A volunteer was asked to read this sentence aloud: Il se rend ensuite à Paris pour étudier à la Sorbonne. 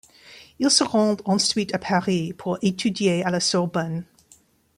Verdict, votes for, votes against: accepted, 2, 0